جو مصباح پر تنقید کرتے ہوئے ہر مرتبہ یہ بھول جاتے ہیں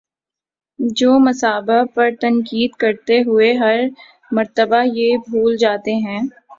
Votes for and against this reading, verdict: 0, 2, rejected